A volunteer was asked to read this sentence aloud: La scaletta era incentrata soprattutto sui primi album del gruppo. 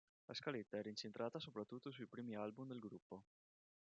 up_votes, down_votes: 2, 0